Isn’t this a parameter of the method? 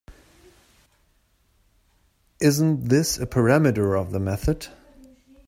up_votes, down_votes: 3, 1